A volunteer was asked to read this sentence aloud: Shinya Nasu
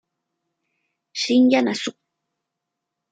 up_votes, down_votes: 2, 0